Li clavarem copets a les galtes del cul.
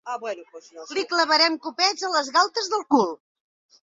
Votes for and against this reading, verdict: 0, 2, rejected